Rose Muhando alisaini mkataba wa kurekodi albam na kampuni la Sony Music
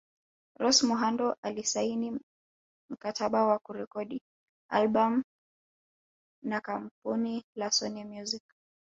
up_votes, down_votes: 3, 0